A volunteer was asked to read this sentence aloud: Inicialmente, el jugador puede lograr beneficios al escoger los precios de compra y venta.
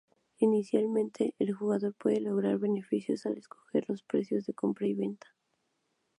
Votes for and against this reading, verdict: 4, 0, accepted